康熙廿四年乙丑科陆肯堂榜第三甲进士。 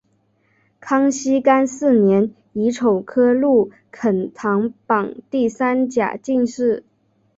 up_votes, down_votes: 1, 2